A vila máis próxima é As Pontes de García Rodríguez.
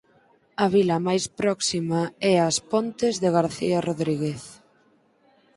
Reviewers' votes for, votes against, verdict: 4, 0, accepted